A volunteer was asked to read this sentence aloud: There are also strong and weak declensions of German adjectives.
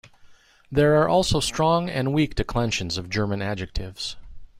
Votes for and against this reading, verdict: 2, 0, accepted